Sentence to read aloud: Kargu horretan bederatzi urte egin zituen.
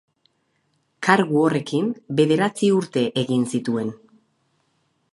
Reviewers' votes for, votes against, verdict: 0, 4, rejected